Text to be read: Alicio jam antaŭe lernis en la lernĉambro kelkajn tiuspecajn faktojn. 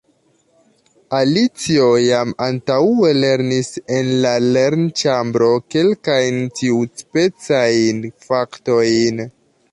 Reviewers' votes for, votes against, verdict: 0, 2, rejected